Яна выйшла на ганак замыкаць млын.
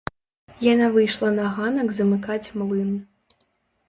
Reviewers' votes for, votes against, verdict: 2, 1, accepted